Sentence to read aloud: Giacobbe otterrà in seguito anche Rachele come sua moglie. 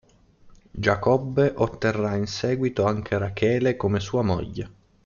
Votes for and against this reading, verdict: 2, 0, accepted